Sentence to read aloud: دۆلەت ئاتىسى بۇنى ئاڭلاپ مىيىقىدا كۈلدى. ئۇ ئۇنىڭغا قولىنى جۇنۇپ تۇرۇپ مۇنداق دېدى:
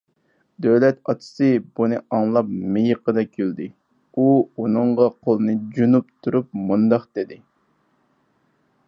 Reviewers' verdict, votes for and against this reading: accepted, 4, 0